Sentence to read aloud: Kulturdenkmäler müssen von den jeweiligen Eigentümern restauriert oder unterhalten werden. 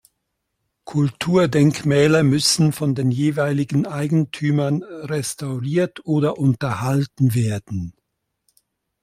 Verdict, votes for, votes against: accepted, 2, 0